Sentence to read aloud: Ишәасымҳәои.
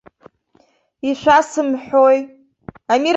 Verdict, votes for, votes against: rejected, 1, 2